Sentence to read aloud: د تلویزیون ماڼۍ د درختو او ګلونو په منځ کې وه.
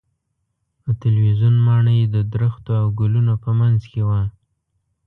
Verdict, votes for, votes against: accepted, 2, 0